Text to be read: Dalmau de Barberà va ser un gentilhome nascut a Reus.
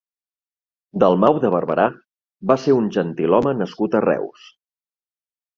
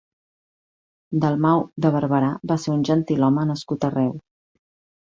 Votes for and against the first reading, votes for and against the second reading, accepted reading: 2, 0, 0, 2, first